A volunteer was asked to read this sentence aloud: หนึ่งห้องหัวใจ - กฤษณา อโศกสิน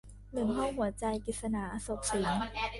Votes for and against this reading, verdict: 0, 2, rejected